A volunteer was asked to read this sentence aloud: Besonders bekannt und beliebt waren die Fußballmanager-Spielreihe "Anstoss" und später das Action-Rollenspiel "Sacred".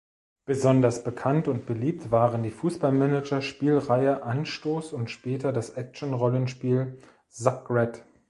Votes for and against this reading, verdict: 0, 2, rejected